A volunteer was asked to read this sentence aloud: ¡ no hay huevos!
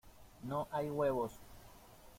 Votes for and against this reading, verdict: 2, 1, accepted